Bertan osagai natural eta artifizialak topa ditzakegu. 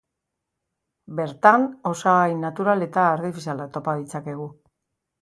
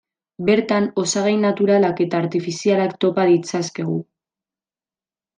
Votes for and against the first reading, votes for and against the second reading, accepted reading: 2, 0, 1, 2, first